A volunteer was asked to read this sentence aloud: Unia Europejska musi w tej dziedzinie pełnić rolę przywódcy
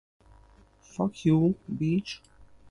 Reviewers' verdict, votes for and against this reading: rejected, 1, 2